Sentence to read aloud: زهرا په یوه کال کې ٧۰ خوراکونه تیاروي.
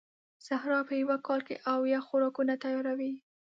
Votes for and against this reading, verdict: 0, 2, rejected